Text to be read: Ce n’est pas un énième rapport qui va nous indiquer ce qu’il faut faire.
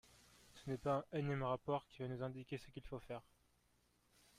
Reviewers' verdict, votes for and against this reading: rejected, 0, 2